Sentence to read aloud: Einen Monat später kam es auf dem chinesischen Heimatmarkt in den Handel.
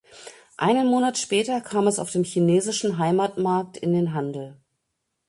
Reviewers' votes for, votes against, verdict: 2, 0, accepted